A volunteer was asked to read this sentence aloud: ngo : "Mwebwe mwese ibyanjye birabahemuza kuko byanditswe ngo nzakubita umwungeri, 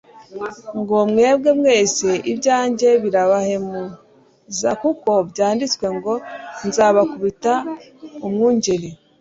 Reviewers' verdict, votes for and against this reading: accepted, 2, 1